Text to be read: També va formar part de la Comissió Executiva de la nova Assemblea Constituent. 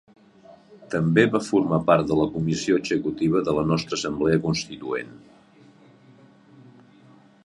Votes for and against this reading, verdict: 0, 2, rejected